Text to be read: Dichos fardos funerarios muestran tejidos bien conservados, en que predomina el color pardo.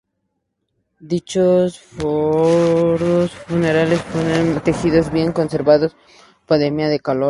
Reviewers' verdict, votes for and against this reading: rejected, 0, 2